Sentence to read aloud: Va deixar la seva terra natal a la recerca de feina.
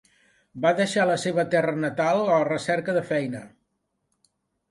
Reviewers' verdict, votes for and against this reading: accepted, 2, 0